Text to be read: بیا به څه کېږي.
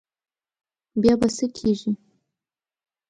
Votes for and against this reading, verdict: 2, 0, accepted